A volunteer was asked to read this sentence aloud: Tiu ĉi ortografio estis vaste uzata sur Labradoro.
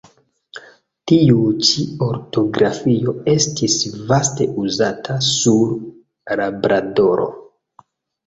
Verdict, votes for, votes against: accepted, 2, 0